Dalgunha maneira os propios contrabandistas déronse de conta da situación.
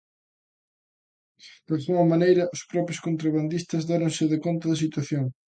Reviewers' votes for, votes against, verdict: 2, 1, accepted